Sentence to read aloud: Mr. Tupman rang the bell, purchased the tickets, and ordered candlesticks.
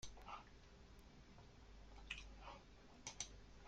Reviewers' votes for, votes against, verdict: 1, 2, rejected